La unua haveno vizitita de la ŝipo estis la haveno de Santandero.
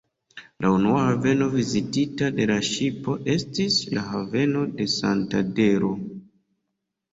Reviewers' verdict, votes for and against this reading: accepted, 2, 1